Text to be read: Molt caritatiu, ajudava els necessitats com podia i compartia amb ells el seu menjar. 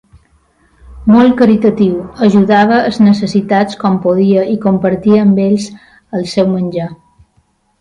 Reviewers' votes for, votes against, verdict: 2, 1, accepted